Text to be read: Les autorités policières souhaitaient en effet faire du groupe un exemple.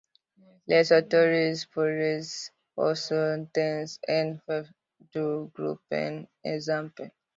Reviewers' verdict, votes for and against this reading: rejected, 0, 2